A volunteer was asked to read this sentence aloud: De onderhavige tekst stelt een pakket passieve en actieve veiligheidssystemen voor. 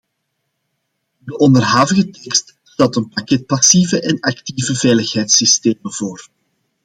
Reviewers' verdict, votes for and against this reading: rejected, 1, 2